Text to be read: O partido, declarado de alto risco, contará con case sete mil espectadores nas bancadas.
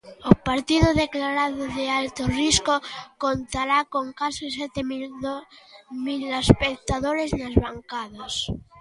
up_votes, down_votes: 0, 2